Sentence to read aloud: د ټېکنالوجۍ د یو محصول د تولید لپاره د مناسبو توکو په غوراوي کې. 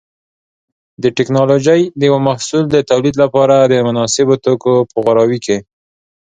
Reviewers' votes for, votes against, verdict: 2, 0, accepted